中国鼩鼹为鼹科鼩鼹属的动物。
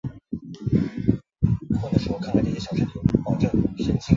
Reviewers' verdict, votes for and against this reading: rejected, 0, 2